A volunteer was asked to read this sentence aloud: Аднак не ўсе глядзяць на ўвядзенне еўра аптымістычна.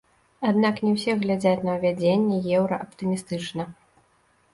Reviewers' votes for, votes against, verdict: 1, 2, rejected